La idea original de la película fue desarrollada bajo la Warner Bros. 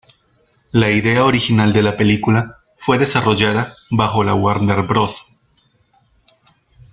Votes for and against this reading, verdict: 2, 0, accepted